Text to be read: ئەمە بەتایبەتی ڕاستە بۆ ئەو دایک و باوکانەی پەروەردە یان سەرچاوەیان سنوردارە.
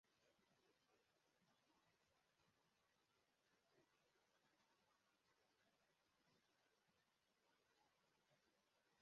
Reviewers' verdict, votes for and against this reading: rejected, 1, 2